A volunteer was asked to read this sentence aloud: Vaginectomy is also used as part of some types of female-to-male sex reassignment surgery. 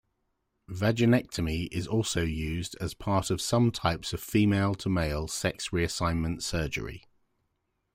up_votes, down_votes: 2, 1